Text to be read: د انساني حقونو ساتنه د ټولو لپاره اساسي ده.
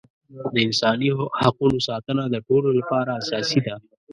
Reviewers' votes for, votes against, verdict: 0, 2, rejected